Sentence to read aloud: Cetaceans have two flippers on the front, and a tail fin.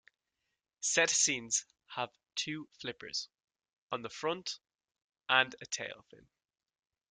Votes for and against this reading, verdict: 1, 3, rejected